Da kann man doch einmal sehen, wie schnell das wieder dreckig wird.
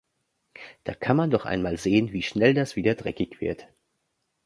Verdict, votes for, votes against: accepted, 2, 0